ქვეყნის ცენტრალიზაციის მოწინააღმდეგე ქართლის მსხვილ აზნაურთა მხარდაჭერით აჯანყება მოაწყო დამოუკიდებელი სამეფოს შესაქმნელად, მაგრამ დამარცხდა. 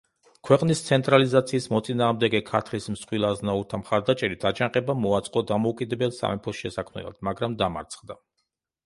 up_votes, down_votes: 1, 2